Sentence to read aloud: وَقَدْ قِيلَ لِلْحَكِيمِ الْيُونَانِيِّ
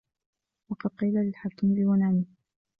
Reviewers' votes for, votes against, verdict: 2, 0, accepted